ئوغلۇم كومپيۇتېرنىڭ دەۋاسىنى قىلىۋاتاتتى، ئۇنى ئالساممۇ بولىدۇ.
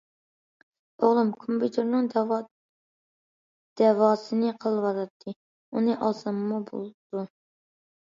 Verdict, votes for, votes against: rejected, 0, 2